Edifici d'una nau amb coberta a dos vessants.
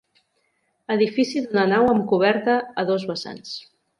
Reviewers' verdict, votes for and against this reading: accepted, 2, 1